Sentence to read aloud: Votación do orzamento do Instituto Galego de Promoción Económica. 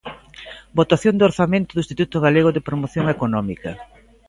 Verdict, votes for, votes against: rejected, 1, 2